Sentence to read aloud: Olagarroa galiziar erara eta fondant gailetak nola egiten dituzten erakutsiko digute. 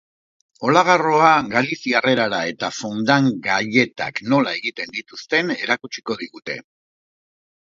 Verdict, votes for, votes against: accepted, 3, 0